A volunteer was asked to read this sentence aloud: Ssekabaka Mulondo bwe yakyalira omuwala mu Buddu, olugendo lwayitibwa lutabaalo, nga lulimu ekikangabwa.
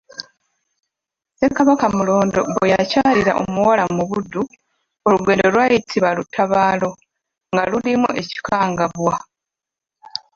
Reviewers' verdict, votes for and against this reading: rejected, 0, 2